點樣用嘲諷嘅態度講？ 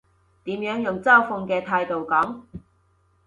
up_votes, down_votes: 2, 0